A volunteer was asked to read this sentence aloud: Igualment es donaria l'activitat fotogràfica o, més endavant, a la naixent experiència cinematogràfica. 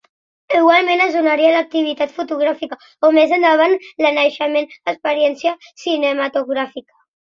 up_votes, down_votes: 2, 0